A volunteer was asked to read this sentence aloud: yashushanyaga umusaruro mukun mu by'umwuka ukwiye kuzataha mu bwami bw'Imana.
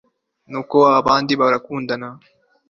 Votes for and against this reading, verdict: 0, 3, rejected